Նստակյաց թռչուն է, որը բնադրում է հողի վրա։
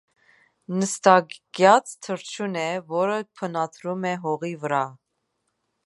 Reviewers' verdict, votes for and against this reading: accepted, 2, 1